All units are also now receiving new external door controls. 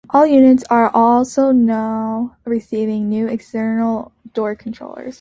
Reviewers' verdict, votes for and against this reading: rejected, 3, 4